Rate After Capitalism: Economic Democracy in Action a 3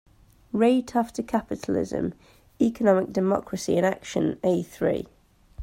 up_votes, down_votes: 0, 2